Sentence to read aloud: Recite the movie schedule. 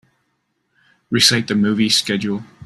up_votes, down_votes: 2, 0